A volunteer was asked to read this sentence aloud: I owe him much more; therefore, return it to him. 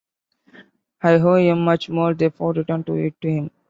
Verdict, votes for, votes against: rejected, 0, 2